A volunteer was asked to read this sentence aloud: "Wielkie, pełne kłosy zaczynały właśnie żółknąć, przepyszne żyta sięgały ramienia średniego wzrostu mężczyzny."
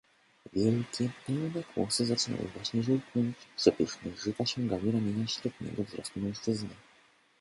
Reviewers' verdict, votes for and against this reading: accepted, 2, 0